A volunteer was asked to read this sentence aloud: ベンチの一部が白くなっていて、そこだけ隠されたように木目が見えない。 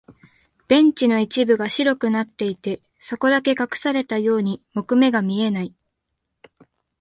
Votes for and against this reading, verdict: 5, 0, accepted